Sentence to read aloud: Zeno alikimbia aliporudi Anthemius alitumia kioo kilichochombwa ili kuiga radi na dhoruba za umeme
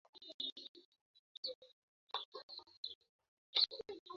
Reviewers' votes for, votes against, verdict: 0, 2, rejected